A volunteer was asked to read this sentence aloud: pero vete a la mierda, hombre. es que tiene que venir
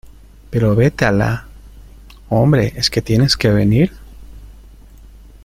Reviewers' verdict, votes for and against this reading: rejected, 0, 2